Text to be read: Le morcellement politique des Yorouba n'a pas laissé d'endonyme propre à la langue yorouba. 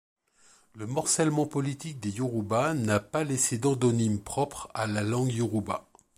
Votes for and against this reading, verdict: 2, 0, accepted